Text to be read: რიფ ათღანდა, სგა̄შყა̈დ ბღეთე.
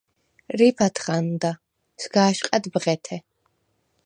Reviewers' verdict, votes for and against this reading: accepted, 4, 0